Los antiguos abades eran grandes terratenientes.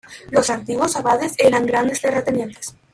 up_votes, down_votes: 2, 1